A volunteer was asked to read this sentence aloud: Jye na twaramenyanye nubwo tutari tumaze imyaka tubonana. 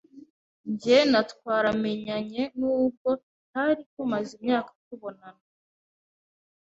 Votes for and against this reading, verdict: 2, 1, accepted